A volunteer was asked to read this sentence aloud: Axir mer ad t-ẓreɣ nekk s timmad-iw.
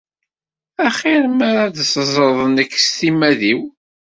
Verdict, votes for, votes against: rejected, 1, 2